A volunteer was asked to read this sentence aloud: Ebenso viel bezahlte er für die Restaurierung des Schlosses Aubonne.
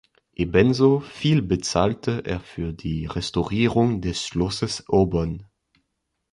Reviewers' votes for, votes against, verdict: 2, 0, accepted